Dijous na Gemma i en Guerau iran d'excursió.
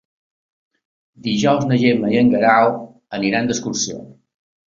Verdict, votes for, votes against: rejected, 0, 2